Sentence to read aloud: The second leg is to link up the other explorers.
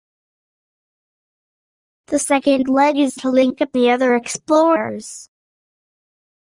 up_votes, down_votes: 2, 0